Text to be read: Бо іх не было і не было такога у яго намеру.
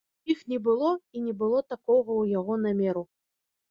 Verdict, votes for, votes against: rejected, 1, 2